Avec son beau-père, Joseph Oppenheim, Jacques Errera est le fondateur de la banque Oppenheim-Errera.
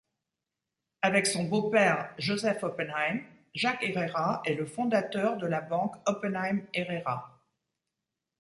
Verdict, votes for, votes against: rejected, 1, 2